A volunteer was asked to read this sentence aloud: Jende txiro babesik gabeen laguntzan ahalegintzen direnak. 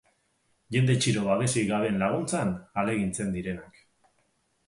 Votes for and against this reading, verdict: 2, 0, accepted